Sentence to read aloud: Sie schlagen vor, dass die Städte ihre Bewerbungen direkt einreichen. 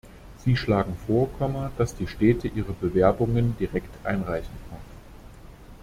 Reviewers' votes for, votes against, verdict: 1, 2, rejected